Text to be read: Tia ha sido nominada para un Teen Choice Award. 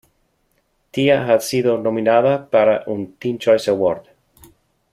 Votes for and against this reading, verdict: 2, 0, accepted